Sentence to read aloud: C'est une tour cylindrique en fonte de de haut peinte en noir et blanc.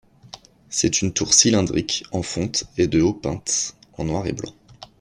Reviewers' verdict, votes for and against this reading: rejected, 0, 2